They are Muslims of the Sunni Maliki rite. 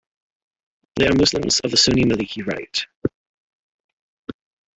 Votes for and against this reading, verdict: 2, 3, rejected